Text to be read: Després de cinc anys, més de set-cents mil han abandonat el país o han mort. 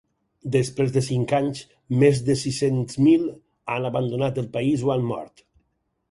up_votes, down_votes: 0, 4